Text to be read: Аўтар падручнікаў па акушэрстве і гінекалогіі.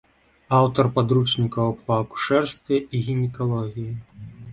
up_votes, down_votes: 2, 0